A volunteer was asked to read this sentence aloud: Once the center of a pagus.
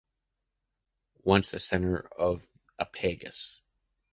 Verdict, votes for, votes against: accepted, 2, 0